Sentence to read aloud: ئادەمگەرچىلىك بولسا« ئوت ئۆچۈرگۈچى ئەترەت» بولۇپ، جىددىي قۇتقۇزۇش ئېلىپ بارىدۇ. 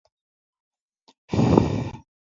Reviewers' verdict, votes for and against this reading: rejected, 0, 2